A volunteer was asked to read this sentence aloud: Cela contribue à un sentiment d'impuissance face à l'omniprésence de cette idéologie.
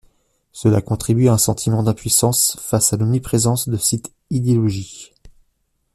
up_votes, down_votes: 2, 1